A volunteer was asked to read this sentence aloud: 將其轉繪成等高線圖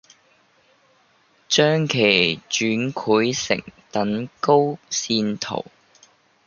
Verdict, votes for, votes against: rejected, 0, 2